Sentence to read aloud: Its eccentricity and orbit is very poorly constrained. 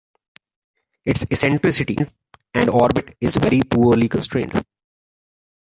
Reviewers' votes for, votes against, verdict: 1, 2, rejected